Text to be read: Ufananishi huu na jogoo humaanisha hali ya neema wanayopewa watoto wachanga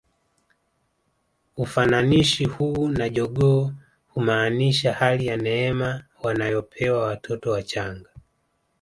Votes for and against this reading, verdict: 2, 1, accepted